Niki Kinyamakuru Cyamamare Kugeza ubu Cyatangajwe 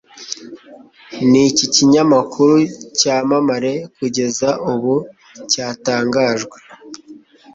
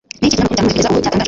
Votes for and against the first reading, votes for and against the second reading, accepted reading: 2, 0, 1, 2, first